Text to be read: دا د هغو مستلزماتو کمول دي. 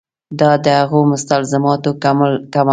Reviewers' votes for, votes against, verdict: 0, 2, rejected